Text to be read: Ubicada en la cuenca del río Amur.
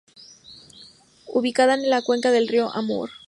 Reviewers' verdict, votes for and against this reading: accepted, 2, 0